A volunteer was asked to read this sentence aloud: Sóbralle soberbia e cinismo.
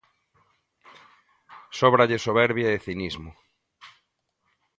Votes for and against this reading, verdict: 2, 0, accepted